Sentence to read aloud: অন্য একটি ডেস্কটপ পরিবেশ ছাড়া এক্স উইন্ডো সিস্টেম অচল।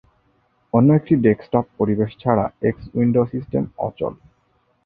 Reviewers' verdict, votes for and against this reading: accepted, 2, 0